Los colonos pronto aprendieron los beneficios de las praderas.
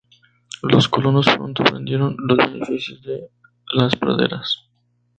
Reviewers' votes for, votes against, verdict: 0, 2, rejected